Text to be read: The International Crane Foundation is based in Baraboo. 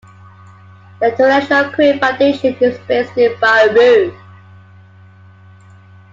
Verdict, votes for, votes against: rejected, 1, 2